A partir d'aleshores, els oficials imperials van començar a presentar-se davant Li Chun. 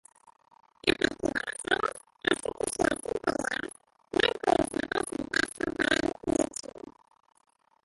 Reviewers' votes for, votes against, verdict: 0, 2, rejected